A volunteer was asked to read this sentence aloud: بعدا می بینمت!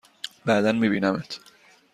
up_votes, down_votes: 2, 0